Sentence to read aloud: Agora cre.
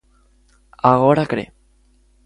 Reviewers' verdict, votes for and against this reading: accepted, 2, 0